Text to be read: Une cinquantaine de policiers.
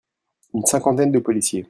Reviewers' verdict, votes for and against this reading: accepted, 2, 0